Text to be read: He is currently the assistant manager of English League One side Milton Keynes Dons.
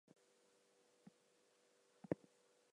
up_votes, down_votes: 0, 4